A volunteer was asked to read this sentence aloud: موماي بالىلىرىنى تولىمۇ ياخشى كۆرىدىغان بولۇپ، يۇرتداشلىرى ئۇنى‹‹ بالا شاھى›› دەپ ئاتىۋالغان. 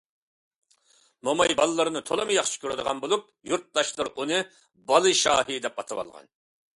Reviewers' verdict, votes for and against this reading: accepted, 2, 0